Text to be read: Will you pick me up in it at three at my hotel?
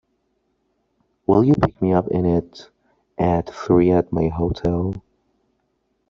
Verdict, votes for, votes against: accepted, 2, 0